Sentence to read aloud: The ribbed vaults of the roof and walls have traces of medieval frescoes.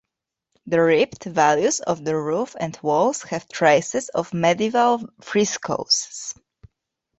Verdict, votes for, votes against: rejected, 0, 2